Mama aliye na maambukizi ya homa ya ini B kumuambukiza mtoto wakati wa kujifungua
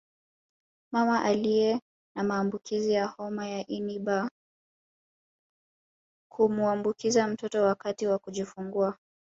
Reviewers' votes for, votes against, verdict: 0, 2, rejected